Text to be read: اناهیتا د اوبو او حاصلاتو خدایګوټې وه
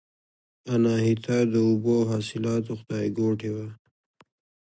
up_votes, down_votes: 1, 2